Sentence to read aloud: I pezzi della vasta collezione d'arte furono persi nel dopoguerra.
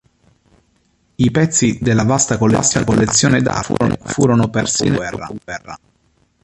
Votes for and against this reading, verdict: 0, 2, rejected